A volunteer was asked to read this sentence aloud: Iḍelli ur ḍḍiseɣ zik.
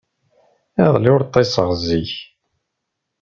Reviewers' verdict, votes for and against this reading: rejected, 0, 2